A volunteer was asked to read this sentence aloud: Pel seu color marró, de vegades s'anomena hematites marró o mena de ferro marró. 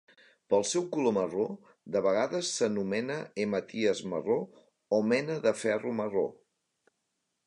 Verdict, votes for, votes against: rejected, 1, 2